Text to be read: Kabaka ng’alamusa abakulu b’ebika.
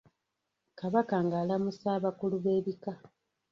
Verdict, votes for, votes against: rejected, 0, 2